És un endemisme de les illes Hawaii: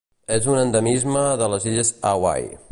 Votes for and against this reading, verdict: 1, 2, rejected